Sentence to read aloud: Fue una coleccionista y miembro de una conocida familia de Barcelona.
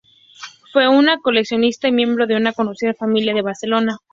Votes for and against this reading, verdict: 4, 2, accepted